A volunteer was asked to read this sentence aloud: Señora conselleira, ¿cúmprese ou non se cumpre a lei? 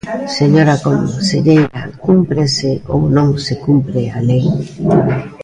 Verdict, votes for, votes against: rejected, 0, 2